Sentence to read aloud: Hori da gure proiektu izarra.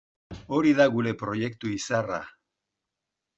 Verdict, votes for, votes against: accepted, 2, 0